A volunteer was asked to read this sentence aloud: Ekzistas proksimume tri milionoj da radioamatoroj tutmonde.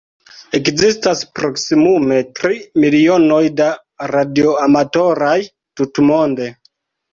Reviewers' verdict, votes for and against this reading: rejected, 0, 2